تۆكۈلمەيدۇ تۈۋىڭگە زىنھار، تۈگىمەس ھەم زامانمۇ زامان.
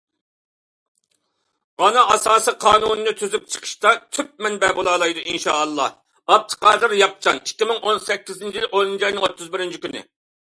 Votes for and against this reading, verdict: 0, 2, rejected